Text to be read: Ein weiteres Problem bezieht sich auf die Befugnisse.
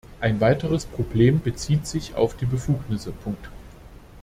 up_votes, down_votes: 0, 2